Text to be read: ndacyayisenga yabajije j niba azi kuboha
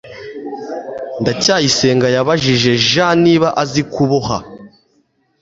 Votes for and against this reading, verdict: 2, 0, accepted